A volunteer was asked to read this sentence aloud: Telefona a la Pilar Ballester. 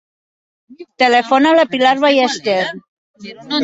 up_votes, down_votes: 0, 2